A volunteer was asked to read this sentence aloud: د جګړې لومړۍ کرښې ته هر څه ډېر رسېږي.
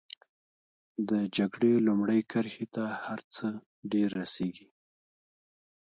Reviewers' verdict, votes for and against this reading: rejected, 0, 2